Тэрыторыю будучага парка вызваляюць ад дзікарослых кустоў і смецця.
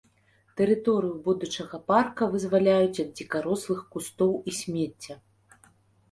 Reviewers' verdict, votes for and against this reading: accepted, 2, 0